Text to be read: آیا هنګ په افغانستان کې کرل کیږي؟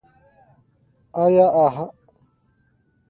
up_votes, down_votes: 1, 2